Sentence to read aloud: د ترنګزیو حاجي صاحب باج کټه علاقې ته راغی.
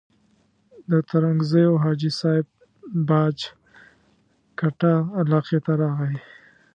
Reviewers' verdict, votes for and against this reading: rejected, 1, 2